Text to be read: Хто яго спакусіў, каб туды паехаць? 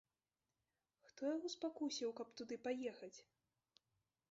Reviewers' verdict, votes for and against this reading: rejected, 0, 2